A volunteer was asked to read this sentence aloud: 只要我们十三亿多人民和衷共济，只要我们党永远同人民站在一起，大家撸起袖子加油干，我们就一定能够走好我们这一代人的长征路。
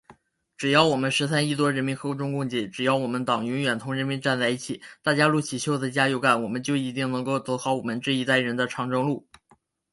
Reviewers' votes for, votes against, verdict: 5, 0, accepted